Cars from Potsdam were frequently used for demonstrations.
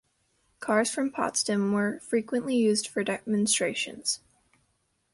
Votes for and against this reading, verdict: 1, 2, rejected